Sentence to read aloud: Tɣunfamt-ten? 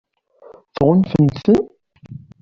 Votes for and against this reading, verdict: 2, 1, accepted